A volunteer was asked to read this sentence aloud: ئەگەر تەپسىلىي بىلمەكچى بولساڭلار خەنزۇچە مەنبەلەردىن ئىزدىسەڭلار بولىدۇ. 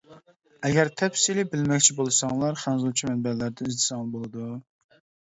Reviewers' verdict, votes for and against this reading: rejected, 0, 2